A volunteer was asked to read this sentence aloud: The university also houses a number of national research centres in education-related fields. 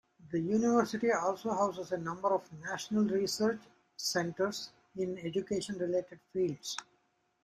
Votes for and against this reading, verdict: 2, 0, accepted